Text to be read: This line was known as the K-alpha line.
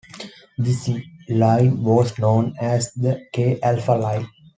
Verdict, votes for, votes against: rejected, 1, 2